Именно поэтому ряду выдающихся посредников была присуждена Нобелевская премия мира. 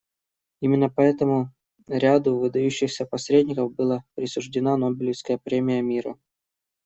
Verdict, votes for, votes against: accepted, 2, 0